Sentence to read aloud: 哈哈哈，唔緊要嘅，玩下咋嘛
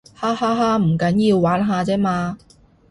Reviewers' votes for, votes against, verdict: 2, 2, rejected